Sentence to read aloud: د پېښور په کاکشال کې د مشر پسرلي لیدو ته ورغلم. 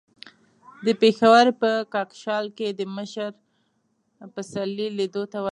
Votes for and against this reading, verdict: 1, 2, rejected